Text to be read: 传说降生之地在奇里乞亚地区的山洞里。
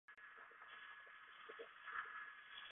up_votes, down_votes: 2, 4